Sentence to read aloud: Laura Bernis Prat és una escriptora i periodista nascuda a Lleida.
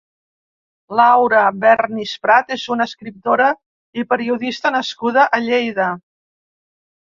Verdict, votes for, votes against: accepted, 2, 0